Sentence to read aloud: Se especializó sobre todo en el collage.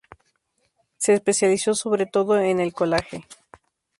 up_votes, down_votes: 0, 2